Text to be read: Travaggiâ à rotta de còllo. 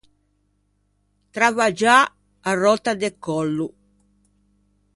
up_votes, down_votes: 0, 2